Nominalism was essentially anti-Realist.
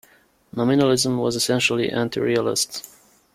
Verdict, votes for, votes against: accepted, 2, 0